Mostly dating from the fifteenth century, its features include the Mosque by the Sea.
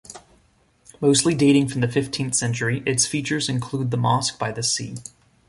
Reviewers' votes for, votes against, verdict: 2, 0, accepted